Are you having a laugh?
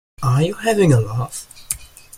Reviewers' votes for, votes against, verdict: 2, 0, accepted